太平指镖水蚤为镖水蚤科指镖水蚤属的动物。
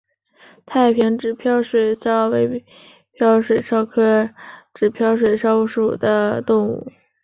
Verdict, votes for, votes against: rejected, 2, 3